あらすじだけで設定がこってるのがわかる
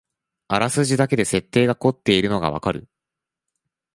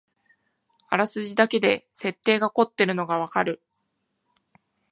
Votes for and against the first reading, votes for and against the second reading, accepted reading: 0, 2, 2, 0, second